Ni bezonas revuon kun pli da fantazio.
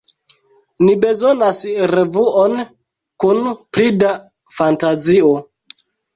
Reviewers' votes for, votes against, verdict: 2, 0, accepted